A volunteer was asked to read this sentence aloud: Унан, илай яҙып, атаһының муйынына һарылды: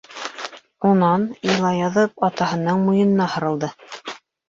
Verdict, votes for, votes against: rejected, 0, 2